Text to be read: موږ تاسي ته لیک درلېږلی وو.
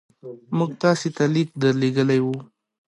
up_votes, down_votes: 2, 0